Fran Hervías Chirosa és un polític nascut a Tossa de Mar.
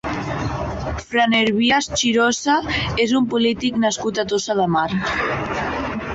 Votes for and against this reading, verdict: 0, 2, rejected